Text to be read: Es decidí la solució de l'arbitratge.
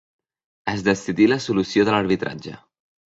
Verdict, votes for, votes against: accepted, 2, 0